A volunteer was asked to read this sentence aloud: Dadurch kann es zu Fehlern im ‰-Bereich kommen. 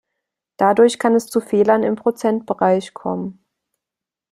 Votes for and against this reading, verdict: 0, 2, rejected